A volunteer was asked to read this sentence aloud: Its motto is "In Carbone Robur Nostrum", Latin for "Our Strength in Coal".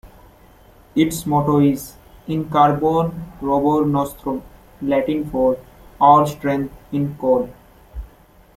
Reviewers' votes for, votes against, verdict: 2, 0, accepted